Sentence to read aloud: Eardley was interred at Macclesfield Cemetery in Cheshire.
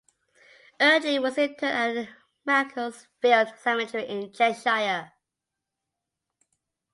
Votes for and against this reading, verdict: 0, 2, rejected